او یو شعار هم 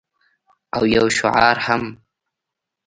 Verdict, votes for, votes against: accepted, 2, 0